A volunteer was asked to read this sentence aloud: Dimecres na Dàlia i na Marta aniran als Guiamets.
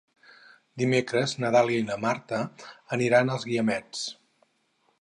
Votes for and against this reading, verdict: 4, 0, accepted